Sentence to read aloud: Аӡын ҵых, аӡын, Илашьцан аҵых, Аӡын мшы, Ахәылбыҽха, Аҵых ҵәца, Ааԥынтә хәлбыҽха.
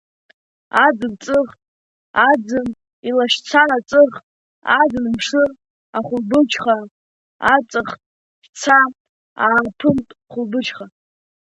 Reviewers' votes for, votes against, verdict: 0, 2, rejected